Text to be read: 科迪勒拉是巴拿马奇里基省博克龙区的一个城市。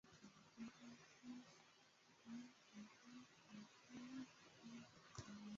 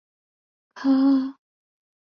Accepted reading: second